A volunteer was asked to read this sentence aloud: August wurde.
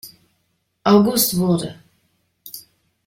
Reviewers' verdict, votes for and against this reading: accepted, 2, 0